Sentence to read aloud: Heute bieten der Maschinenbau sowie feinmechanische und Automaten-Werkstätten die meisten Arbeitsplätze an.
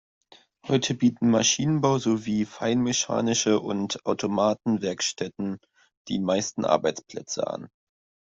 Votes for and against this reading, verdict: 1, 2, rejected